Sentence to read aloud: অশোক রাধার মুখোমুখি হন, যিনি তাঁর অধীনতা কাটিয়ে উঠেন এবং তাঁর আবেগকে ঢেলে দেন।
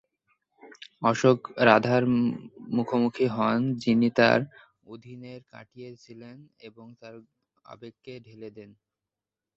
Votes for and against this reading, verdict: 3, 10, rejected